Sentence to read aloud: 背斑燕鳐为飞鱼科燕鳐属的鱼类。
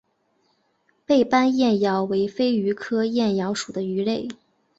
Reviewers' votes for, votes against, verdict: 2, 0, accepted